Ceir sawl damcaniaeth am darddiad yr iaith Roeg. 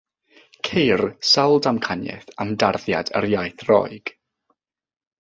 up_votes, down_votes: 0, 3